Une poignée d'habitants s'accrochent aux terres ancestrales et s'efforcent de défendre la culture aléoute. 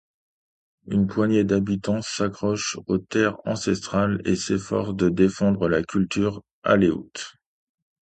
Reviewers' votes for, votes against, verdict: 2, 0, accepted